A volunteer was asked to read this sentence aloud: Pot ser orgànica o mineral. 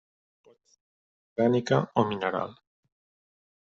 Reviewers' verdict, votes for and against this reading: rejected, 0, 2